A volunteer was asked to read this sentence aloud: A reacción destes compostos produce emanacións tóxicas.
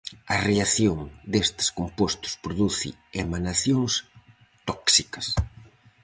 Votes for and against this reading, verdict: 4, 0, accepted